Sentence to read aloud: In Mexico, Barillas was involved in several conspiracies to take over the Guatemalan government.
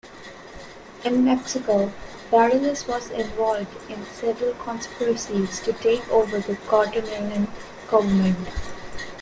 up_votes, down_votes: 0, 2